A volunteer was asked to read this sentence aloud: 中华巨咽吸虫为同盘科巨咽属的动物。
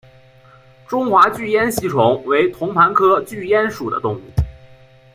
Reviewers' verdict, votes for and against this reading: accepted, 2, 0